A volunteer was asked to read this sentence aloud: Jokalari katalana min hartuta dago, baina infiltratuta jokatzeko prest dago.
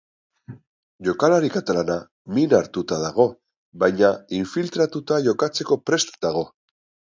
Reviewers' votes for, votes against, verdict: 3, 0, accepted